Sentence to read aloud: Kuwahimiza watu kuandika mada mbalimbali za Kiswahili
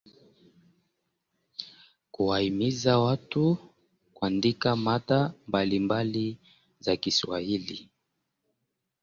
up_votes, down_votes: 0, 2